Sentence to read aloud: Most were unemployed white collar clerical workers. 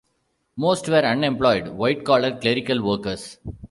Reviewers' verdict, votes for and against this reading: rejected, 1, 2